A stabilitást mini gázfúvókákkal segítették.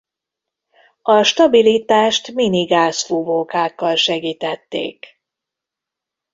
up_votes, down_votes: 0, 2